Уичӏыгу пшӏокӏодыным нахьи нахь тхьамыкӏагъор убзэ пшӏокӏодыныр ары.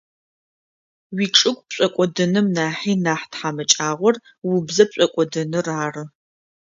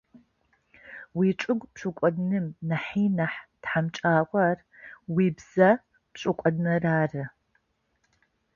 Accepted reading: first